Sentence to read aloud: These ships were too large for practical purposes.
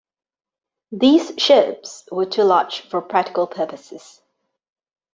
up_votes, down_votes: 2, 0